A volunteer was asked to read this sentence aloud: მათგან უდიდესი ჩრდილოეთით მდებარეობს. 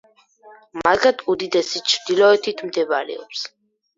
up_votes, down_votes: 2, 4